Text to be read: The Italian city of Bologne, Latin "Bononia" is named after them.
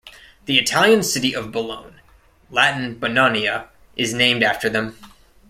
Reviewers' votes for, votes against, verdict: 2, 0, accepted